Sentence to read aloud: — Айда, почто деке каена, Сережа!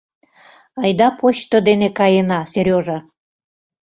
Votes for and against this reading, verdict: 0, 2, rejected